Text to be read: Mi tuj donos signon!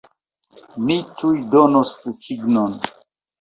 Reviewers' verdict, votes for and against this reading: rejected, 1, 2